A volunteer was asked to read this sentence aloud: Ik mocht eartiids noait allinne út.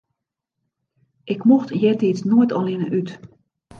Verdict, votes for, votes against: accepted, 2, 0